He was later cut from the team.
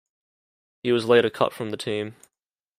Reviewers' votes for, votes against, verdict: 2, 0, accepted